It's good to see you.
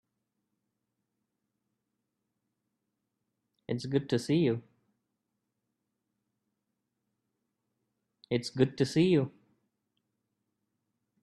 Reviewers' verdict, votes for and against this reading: rejected, 2, 4